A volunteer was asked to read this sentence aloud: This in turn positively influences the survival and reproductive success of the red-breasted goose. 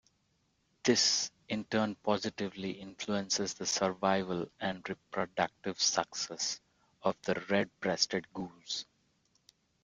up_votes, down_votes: 2, 0